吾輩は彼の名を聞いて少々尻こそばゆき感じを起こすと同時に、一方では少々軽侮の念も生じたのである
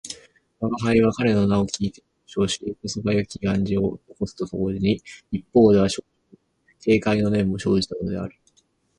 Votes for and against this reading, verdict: 0, 4, rejected